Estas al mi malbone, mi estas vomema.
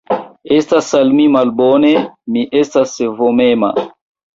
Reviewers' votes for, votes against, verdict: 1, 2, rejected